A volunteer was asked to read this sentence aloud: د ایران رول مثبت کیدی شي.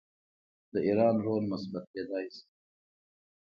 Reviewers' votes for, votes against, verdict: 2, 0, accepted